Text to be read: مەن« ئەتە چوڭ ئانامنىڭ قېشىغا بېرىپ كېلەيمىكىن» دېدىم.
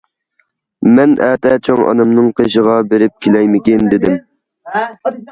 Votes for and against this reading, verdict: 2, 1, accepted